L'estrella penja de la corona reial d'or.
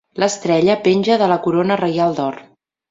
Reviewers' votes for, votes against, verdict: 3, 0, accepted